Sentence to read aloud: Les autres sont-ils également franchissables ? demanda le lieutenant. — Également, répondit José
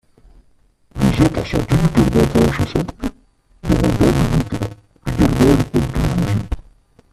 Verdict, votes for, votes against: rejected, 0, 2